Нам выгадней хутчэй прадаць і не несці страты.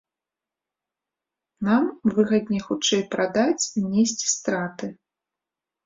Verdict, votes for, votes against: rejected, 0, 2